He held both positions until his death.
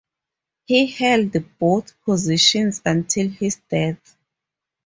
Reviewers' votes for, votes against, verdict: 2, 0, accepted